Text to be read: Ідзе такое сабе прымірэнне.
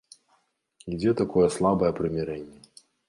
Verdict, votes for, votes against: rejected, 1, 2